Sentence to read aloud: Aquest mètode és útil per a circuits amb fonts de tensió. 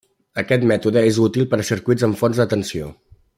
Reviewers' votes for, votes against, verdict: 2, 0, accepted